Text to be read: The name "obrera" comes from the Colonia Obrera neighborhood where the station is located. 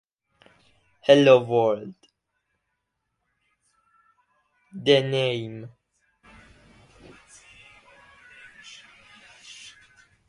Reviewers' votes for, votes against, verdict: 0, 2, rejected